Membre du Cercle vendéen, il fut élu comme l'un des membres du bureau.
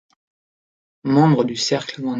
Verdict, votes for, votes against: rejected, 0, 3